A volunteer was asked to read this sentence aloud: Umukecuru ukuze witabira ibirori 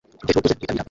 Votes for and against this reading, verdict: 0, 2, rejected